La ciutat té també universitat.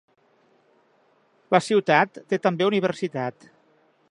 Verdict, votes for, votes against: accepted, 3, 0